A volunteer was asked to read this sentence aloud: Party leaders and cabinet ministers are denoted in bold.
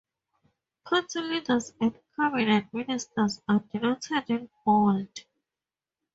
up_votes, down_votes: 4, 2